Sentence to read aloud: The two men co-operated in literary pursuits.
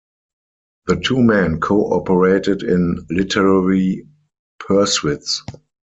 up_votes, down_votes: 0, 4